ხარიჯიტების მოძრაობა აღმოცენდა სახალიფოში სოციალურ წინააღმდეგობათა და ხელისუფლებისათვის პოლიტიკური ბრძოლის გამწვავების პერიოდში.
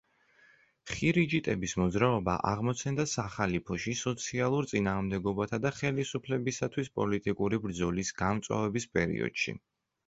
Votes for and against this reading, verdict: 0, 2, rejected